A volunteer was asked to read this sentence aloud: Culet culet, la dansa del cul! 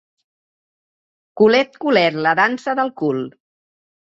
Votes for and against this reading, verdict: 2, 0, accepted